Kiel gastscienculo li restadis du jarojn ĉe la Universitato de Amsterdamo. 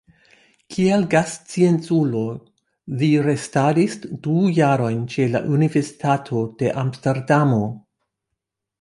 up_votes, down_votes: 1, 2